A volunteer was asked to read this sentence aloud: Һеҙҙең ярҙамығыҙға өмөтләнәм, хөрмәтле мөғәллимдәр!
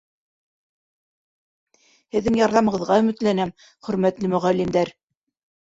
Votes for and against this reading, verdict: 0, 2, rejected